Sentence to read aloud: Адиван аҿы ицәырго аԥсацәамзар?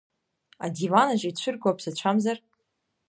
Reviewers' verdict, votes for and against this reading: accepted, 2, 0